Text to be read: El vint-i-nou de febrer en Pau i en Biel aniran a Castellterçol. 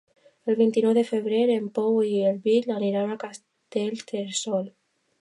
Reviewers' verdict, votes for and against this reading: rejected, 0, 2